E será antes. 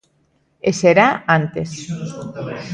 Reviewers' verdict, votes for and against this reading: accepted, 2, 0